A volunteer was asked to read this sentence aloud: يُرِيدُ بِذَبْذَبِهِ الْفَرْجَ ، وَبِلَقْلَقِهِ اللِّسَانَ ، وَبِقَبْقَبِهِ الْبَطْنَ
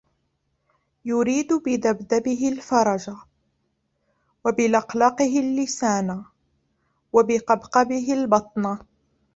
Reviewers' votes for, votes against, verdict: 1, 2, rejected